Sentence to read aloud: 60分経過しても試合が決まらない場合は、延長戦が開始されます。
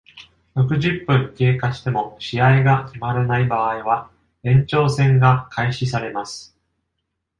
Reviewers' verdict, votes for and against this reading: rejected, 0, 2